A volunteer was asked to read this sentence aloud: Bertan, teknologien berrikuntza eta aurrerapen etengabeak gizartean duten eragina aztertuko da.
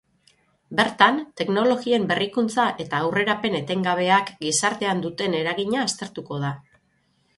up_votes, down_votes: 6, 0